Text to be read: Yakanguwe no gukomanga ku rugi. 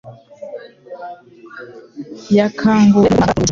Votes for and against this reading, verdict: 0, 2, rejected